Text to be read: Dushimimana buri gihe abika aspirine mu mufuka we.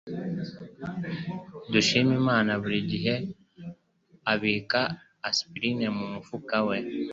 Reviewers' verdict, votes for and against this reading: accepted, 2, 0